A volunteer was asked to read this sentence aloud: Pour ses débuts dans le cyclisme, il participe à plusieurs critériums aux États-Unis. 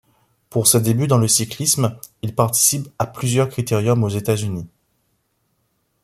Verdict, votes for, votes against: accepted, 2, 0